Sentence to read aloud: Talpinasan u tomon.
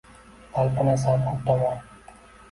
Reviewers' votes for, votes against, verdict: 2, 1, accepted